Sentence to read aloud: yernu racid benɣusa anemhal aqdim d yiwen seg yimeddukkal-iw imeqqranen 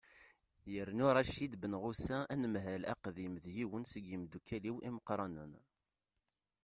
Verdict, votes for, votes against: rejected, 1, 2